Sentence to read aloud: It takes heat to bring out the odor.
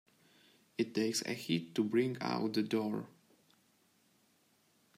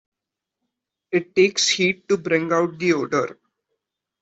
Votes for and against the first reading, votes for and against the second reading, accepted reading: 1, 2, 2, 0, second